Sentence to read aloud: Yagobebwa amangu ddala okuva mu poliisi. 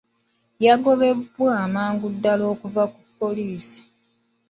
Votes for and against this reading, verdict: 1, 2, rejected